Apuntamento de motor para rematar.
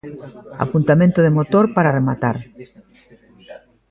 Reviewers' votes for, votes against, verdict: 0, 2, rejected